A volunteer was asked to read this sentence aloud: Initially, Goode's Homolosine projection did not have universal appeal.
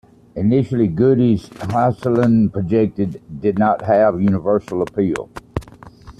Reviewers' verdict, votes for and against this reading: rejected, 1, 2